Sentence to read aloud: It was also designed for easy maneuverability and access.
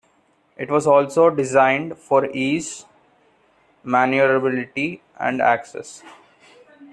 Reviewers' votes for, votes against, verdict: 0, 2, rejected